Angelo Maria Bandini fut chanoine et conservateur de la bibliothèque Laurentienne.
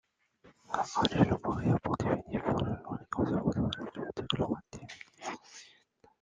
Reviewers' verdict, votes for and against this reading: rejected, 0, 2